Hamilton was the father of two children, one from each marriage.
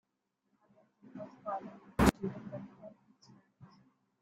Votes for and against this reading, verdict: 0, 2, rejected